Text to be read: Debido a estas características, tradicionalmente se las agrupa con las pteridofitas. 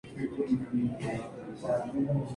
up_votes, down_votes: 0, 4